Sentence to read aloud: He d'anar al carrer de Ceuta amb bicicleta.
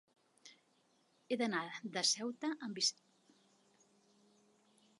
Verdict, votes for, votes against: rejected, 0, 3